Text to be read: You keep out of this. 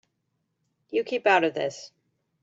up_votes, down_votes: 2, 0